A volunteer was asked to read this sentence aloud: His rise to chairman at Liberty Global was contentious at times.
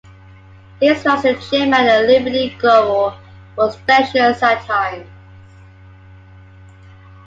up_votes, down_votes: 2, 0